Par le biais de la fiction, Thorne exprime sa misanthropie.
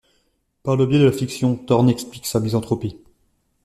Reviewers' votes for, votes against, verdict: 2, 0, accepted